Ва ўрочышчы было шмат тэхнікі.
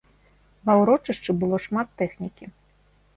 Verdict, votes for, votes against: accepted, 2, 0